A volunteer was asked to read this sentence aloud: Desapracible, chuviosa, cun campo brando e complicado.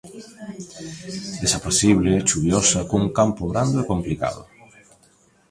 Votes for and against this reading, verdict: 0, 2, rejected